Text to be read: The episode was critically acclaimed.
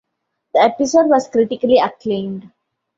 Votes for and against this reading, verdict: 2, 0, accepted